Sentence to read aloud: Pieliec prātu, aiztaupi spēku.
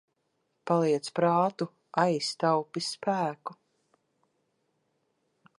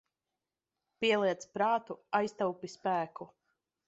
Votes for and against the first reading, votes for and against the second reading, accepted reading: 0, 2, 2, 0, second